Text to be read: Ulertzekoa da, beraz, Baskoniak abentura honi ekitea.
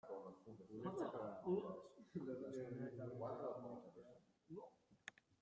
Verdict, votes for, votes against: rejected, 0, 2